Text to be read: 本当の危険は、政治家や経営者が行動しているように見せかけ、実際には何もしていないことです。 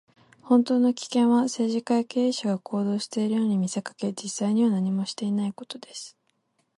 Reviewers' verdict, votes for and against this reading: accepted, 4, 0